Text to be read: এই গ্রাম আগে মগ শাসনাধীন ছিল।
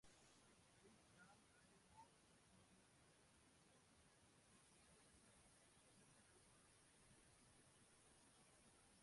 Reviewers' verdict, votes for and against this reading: rejected, 0, 2